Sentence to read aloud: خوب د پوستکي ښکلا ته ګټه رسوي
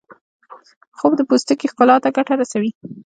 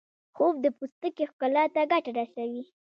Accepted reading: first